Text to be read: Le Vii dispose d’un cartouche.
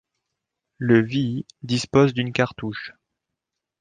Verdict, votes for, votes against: rejected, 0, 2